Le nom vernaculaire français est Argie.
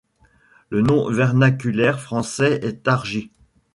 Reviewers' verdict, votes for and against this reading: rejected, 1, 2